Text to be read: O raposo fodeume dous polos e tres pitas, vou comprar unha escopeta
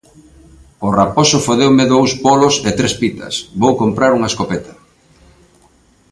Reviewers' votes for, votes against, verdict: 2, 0, accepted